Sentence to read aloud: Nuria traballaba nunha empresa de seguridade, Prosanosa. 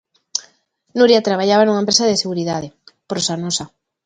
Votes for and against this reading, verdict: 2, 0, accepted